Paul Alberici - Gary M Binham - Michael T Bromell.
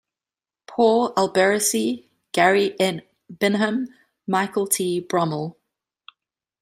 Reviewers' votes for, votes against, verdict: 2, 1, accepted